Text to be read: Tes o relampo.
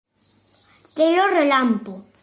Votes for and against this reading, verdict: 0, 2, rejected